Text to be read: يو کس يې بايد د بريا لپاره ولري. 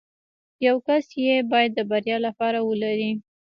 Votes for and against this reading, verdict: 0, 2, rejected